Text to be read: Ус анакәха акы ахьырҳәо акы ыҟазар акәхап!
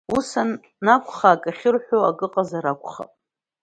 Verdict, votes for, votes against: accepted, 2, 0